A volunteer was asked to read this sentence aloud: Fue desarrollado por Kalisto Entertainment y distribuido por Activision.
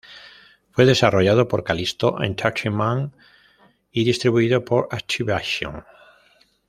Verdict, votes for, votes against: rejected, 1, 2